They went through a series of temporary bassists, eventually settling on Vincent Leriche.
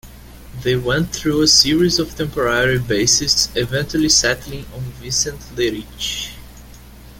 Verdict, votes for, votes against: rejected, 0, 2